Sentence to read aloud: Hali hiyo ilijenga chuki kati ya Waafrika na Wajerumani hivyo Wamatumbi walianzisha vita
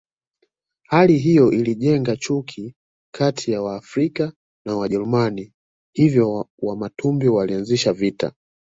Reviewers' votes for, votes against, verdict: 2, 1, accepted